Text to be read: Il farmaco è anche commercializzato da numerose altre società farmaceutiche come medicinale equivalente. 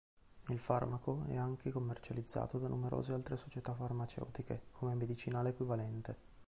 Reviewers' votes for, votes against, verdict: 1, 2, rejected